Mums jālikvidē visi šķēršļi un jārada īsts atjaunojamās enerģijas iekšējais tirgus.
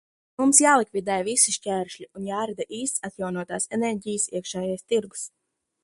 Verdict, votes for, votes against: rejected, 0, 2